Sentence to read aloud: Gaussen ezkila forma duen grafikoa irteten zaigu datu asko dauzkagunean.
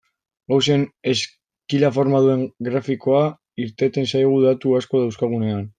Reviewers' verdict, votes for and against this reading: rejected, 0, 2